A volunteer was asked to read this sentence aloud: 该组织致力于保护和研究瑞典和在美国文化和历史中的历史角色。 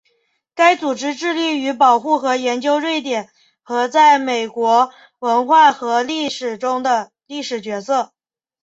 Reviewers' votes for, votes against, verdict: 3, 0, accepted